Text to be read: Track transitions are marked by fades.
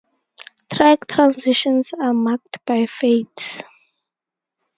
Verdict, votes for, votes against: rejected, 2, 2